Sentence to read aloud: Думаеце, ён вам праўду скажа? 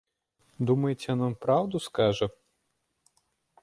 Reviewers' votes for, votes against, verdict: 2, 0, accepted